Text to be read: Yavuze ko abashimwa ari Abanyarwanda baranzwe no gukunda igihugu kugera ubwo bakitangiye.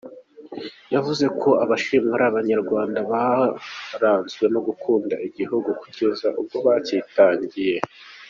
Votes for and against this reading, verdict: 2, 1, accepted